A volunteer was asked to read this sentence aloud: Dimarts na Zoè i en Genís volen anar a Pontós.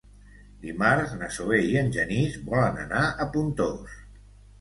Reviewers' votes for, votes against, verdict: 2, 0, accepted